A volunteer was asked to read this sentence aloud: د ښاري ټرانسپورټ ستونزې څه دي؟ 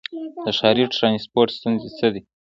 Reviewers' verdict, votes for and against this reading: rejected, 0, 2